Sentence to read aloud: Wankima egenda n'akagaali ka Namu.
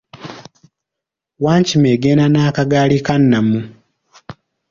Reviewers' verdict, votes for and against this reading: accepted, 2, 0